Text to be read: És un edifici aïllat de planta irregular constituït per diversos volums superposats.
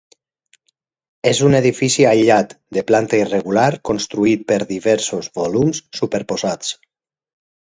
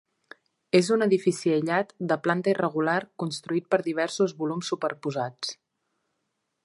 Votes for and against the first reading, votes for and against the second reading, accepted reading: 6, 0, 1, 2, first